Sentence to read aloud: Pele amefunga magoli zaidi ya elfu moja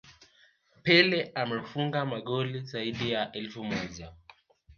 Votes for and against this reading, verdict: 2, 0, accepted